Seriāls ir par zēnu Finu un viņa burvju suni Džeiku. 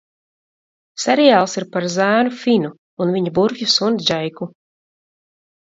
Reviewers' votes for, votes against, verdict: 2, 0, accepted